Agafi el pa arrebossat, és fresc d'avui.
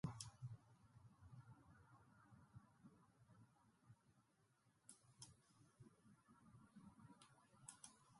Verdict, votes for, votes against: rejected, 0, 2